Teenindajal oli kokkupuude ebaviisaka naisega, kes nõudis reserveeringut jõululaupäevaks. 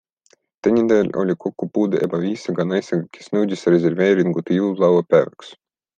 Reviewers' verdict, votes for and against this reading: accepted, 2, 0